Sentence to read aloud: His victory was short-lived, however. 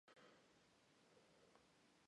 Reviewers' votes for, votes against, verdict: 0, 2, rejected